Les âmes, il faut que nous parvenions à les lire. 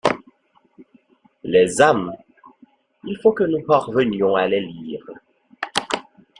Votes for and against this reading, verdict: 2, 0, accepted